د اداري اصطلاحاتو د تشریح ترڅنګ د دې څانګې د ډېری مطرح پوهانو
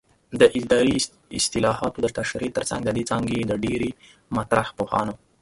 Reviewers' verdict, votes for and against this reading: rejected, 1, 2